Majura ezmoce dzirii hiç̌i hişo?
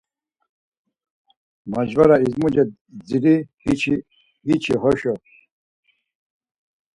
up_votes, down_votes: 0, 4